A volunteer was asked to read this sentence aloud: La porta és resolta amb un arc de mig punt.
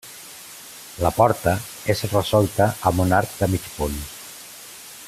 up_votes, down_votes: 3, 0